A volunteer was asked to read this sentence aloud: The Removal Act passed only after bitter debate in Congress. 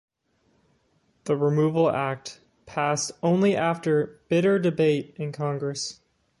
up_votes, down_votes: 2, 0